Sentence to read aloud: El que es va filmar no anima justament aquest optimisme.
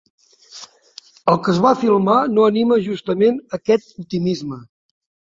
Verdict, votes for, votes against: accepted, 4, 0